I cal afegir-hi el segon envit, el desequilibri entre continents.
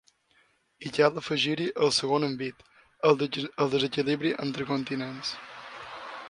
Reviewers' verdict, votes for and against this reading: rejected, 1, 2